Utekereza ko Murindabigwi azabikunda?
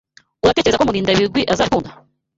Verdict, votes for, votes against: rejected, 1, 2